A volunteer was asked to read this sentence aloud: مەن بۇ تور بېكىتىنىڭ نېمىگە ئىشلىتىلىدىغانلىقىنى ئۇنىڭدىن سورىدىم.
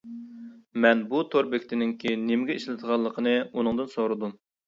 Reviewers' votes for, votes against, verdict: 1, 2, rejected